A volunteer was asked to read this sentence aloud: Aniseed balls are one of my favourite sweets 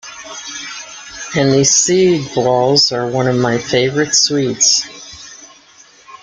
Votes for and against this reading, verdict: 1, 2, rejected